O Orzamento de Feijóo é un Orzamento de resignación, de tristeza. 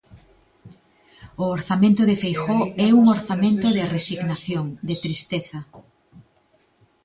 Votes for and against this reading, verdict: 1, 2, rejected